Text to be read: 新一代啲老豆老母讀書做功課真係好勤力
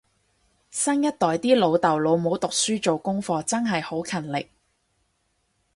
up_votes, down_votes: 4, 0